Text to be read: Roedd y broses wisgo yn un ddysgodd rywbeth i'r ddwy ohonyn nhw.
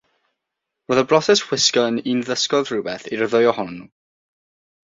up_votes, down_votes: 3, 6